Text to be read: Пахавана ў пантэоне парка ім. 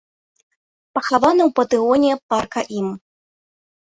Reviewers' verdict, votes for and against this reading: rejected, 1, 3